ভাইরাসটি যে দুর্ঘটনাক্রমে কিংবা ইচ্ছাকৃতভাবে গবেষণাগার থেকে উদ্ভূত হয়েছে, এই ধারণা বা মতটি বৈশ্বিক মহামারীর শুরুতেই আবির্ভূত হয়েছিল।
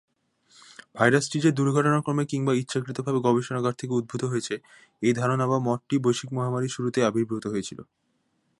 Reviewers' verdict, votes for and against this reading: accepted, 2, 0